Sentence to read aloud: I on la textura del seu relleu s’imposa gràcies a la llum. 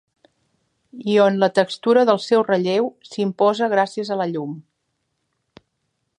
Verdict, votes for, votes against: accepted, 3, 0